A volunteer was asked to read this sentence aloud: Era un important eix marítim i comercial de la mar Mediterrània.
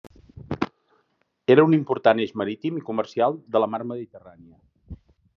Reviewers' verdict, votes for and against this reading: accepted, 2, 0